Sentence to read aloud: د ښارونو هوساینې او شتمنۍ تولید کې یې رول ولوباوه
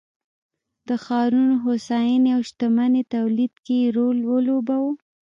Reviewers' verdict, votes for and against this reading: rejected, 1, 2